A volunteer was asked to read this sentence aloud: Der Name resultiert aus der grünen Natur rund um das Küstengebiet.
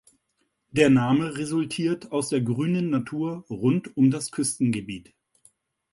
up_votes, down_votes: 2, 0